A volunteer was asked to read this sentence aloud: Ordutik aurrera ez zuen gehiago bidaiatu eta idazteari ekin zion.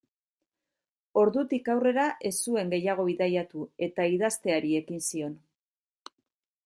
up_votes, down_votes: 2, 0